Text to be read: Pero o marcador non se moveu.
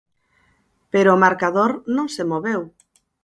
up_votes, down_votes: 4, 0